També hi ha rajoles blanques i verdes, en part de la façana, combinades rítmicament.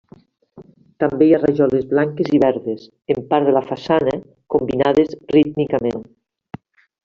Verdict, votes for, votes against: accepted, 3, 0